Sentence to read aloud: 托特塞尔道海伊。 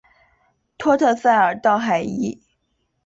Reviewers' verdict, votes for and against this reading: accepted, 3, 0